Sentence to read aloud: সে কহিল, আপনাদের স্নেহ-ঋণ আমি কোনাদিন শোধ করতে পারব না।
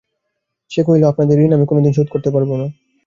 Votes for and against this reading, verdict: 1, 2, rejected